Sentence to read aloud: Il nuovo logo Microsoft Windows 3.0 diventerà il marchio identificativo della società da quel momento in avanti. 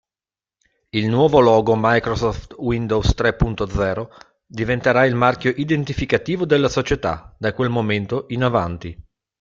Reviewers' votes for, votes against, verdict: 0, 2, rejected